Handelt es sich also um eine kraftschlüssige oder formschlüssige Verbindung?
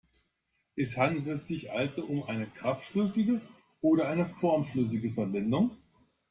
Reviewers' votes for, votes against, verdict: 0, 2, rejected